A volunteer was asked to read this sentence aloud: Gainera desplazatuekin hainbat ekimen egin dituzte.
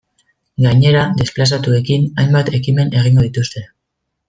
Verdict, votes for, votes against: rejected, 0, 2